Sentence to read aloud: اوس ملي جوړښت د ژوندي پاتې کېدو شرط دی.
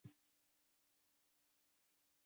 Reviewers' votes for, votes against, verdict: 0, 2, rejected